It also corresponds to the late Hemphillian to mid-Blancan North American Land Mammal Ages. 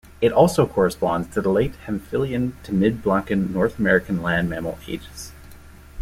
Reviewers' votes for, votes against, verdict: 2, 0, accepted